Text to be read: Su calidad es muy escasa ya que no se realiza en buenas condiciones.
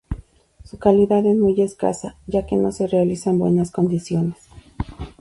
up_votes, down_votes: 4, 0